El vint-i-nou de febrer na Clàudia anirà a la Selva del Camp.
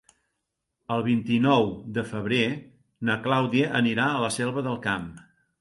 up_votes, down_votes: 2, 0